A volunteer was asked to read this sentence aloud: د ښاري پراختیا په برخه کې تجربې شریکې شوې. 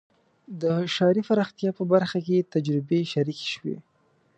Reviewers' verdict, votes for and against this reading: accepted, 2, 0